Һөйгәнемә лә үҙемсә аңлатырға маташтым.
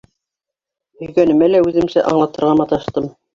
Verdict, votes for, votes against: rejected, 0, 2